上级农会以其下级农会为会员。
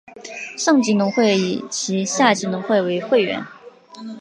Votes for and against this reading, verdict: 3, 0, accepted